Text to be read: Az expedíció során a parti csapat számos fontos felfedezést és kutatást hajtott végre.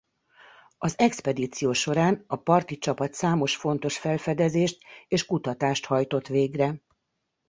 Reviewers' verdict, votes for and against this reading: accepted, 2, 0